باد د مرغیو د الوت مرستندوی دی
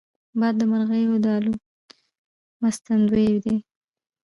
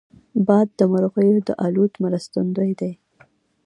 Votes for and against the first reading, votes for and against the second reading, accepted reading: 1, 2, 2, 0, second